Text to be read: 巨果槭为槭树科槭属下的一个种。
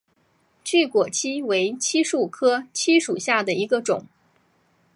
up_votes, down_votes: 2, 0